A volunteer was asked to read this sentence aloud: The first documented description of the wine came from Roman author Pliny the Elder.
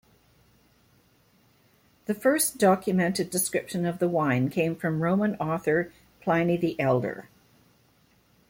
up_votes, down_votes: 2, 0